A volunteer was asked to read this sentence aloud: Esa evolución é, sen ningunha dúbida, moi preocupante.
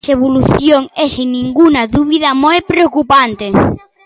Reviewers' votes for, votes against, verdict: 0, 2, rejected